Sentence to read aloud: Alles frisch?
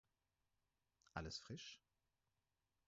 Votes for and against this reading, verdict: 4, 0, accepted